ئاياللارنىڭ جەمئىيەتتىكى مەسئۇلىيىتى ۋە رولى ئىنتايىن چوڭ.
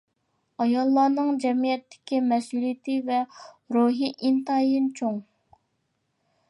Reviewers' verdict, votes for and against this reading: accepted, 2, 0